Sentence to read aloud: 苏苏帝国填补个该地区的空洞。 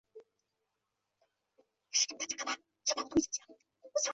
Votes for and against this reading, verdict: 1, 2, rejected